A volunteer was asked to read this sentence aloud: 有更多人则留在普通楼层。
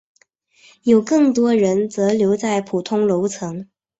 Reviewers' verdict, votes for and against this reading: accepted, 8, 0